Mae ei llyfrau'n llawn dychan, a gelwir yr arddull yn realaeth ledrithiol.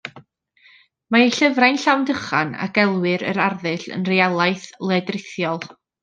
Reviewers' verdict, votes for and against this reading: accepted, 2, 0